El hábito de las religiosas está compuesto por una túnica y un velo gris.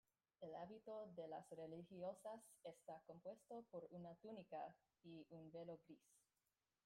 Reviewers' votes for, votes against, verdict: 0, 2, rejected